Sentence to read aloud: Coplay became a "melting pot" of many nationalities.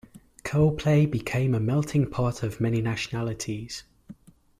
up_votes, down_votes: 3, 0